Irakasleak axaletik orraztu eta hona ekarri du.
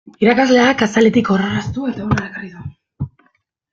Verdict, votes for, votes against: rejected, 0, 2